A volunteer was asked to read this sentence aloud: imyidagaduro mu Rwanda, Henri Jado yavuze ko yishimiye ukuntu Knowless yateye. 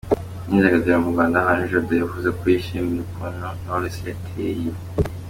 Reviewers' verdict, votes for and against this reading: accepted, 2, 1